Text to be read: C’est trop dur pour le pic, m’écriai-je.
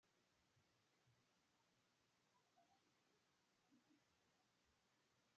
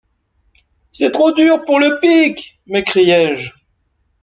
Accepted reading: second